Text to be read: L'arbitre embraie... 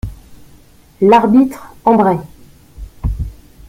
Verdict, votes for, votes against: rejected, 1, 2